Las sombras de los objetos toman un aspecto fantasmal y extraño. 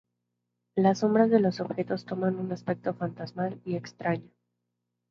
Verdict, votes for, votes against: accepted, 2, 0